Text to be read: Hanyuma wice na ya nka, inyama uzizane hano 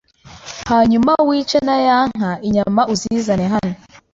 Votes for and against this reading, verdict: 2, 0, accepted